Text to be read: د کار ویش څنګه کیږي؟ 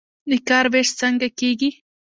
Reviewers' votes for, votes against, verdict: 2, 0, accepted